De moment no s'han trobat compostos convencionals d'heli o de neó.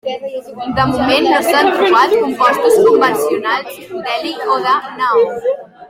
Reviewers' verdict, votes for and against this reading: accepted, 2, 1